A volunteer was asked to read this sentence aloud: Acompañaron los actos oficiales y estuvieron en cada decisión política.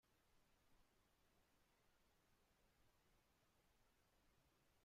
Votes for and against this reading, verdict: 0, 2, rejected